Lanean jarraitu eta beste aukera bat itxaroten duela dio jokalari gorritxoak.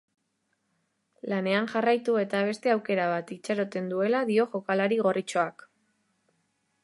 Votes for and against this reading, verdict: 1, 2, rejected